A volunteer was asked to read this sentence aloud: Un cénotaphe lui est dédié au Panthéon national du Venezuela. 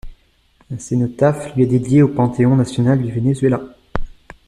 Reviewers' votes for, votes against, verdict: 2, 0, accepted